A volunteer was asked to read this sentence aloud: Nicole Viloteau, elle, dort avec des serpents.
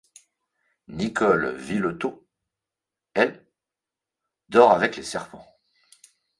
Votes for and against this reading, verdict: 0, 3, rejected